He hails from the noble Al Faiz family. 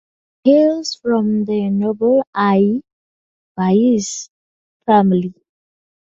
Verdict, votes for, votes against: rejected, 0, 2